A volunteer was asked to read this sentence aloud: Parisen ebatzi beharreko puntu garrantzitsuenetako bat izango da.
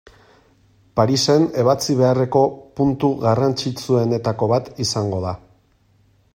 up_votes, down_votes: 2, 0